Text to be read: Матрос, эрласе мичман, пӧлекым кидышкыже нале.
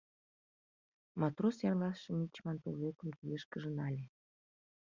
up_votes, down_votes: 0, 2